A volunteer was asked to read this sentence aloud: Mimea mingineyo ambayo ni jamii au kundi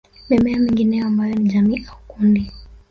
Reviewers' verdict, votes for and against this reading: rejected, 1, 2